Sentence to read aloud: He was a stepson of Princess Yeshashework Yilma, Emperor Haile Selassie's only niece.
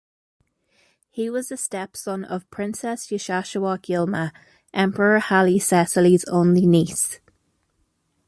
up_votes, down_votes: 1, 2